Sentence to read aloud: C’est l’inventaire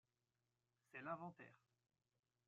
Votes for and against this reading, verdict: 1, 2, rejected